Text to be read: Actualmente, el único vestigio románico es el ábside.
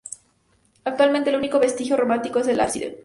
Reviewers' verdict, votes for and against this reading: accepted, 2, 0